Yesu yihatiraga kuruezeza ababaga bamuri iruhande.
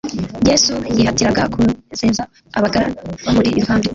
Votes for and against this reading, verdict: 0, 2, rejected